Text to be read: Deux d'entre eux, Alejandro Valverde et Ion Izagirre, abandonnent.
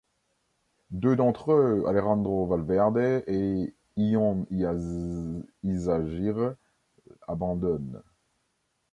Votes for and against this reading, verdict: 0, 2, rejected